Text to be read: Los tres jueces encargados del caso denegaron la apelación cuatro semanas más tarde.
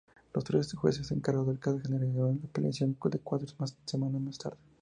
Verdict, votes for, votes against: rejected, 2, 2